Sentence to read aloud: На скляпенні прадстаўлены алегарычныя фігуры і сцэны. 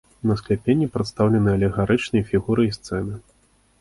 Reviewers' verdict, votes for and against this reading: accepted, 2, 0